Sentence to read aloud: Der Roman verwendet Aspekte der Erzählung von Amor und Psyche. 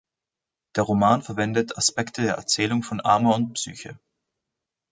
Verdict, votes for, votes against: accepted, 2, 0